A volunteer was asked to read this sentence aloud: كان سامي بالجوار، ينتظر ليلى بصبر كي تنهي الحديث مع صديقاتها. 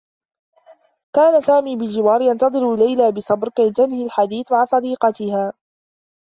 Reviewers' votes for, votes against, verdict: 2, 1, accepted